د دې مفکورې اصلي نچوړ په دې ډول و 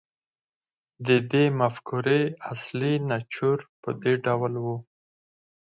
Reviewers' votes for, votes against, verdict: 4, 0, accepted